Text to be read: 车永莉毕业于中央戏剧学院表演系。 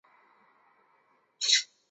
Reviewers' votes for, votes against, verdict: 1, 2, rejected